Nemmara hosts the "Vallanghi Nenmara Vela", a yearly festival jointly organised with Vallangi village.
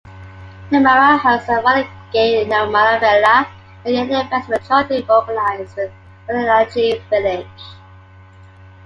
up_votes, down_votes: 2, 1